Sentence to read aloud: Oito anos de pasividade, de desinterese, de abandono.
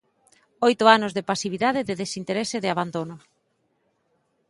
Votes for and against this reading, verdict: 2, 0, accepted